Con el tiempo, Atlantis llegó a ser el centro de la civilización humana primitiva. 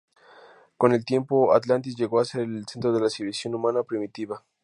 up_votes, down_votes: 2, 0